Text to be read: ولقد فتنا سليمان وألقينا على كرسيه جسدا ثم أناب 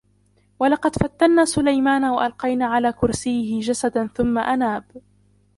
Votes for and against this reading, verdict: 0, 2, rejected